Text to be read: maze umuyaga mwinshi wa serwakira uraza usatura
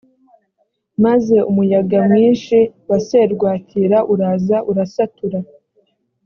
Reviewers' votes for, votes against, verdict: 1, 2, rejected